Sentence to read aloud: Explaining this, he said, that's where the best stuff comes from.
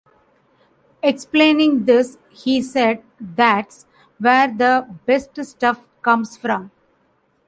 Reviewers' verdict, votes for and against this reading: accepted, 2, 0